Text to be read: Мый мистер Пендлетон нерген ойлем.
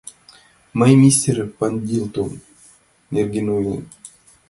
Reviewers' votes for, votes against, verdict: 0, 2, rejected